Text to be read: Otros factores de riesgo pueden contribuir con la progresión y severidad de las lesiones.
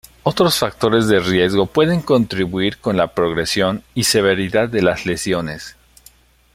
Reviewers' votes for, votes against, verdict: 2, 0, accepted